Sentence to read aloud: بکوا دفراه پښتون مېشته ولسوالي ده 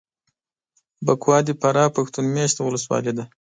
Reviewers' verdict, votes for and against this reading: accepted, 2, 0